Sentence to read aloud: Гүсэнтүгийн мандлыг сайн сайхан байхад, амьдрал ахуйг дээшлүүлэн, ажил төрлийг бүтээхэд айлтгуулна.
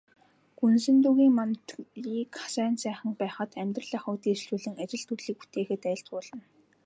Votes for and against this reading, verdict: 2, 0, accepted